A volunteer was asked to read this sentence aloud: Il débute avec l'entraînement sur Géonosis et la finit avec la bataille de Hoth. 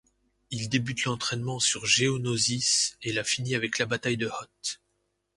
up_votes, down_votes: 0, 2